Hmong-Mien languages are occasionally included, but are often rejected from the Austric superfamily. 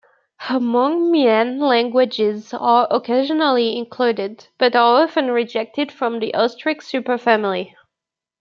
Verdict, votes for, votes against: accepted, 2, 0